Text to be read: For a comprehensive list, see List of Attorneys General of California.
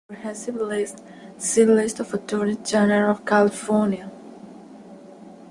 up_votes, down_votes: 0, 2